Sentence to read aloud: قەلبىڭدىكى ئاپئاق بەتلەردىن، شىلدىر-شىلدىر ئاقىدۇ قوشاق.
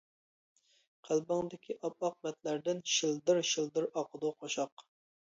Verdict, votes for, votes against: accepted, 2, 0